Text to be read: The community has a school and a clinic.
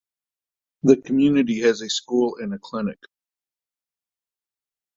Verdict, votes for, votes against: accepted, 2, 0